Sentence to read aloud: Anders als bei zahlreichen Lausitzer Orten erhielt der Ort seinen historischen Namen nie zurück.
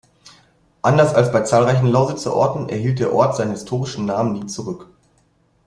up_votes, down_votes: 2, 0